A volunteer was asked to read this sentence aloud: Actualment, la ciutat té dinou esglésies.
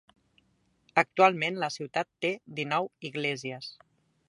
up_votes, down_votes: 1, 2